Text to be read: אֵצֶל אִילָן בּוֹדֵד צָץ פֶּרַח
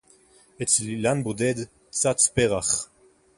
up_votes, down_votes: 2, 2